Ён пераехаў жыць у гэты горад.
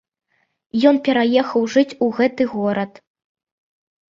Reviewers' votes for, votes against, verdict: 2, 0, accepted